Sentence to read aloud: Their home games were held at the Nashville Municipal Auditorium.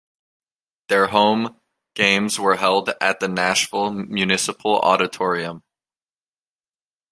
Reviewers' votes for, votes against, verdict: 2, 0, accepted